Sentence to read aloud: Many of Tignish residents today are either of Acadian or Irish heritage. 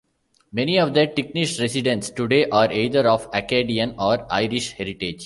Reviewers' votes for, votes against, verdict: 0, 2, rejected